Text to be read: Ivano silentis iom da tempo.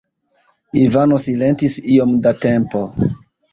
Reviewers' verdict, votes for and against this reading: rejected, 0, 2